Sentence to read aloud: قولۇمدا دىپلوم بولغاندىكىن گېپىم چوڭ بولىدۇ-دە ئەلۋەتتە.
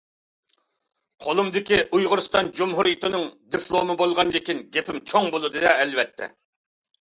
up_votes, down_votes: 0, 2